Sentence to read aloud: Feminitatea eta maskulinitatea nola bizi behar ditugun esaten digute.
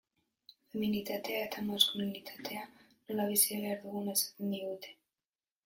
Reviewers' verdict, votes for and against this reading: rejected, 0, 2